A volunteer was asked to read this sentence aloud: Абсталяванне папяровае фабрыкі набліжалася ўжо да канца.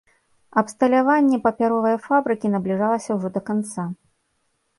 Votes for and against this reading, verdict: 2, 0, accepted